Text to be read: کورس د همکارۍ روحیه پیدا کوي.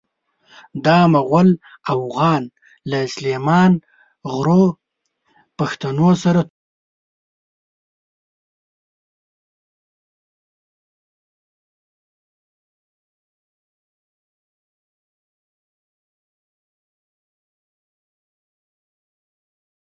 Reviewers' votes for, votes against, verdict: 0, 2, rejected